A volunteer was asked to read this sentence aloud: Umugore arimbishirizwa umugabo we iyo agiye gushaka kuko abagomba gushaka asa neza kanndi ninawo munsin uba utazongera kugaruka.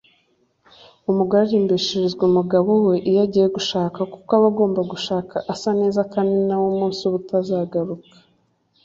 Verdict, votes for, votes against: rejected, 1, 2